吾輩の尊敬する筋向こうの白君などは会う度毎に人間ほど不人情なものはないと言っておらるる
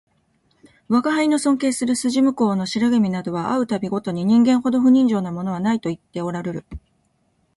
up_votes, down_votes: 2, 0